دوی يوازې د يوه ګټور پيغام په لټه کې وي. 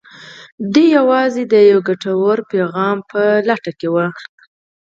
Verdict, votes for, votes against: accepted, 4, 0